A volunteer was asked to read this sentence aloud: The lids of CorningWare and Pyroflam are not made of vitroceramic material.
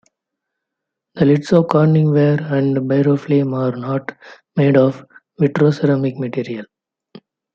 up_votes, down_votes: 2, 0